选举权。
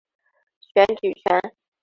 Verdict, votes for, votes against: accepted, 6, 1